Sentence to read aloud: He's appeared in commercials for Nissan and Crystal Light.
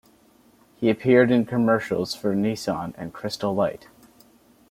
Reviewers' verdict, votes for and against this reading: rejected, 1, 2